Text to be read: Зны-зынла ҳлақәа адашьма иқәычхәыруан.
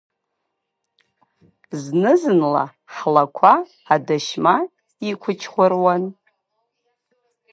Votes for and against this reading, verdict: 2, 0, accepted